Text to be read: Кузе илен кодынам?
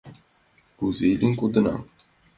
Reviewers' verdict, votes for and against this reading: accepted, 2, 0